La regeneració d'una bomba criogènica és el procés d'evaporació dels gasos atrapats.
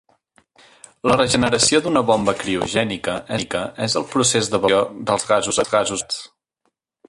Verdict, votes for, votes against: rejected, 0, 2